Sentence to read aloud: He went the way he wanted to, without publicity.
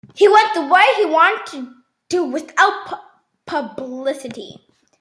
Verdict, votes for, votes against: rejected, 0, 2